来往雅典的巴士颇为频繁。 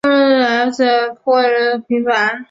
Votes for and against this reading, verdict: 0, 2, rejected